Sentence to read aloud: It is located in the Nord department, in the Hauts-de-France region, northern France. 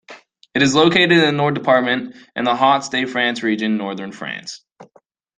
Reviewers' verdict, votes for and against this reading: accepted, 2, 1